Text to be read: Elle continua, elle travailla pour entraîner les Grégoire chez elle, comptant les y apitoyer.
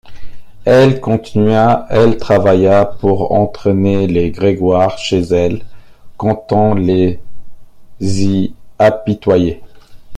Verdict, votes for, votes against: accepted, 2, 1